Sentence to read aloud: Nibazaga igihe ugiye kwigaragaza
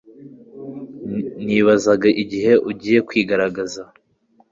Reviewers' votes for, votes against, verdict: 2, 0, accepted